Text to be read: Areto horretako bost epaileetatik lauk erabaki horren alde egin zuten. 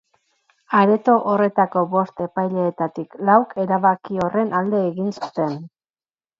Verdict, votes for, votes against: accepted, 4, 2